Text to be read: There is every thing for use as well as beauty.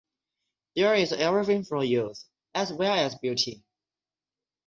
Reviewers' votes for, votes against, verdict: 6, 0, accepted